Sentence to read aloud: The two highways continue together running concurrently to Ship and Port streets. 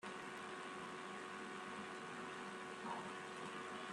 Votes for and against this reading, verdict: 0, 2, rejected